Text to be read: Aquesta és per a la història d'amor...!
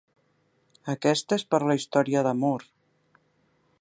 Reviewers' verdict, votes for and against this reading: rejected, 1, 2